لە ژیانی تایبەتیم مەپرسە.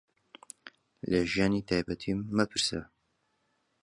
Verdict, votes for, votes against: accepted, 2, 1